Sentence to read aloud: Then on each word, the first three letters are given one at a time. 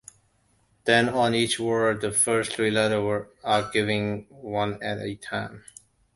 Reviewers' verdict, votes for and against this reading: accepted, 2, 1